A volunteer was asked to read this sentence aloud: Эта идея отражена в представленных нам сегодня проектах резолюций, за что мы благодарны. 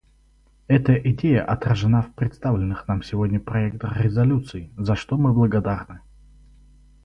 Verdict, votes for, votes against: rejected, 2, 2